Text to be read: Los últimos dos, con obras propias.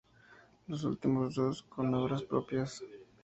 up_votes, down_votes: 2, 0